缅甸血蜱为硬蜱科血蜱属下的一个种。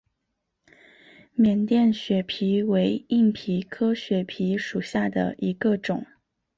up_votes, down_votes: 5, 1